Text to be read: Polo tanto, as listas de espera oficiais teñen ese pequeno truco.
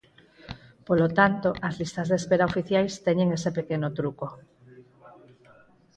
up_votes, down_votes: 4, 0